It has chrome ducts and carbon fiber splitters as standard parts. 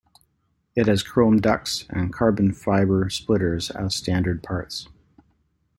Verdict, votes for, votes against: accepted, 2, 0